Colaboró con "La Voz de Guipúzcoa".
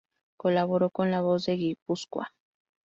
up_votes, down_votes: 2, 2